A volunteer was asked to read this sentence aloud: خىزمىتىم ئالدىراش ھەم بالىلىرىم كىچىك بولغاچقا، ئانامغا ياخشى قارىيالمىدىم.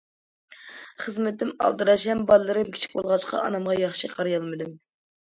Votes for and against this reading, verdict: 2, 0, accepted